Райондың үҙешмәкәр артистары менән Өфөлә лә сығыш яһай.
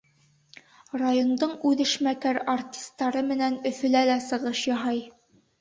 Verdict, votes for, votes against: accepted, 2, 0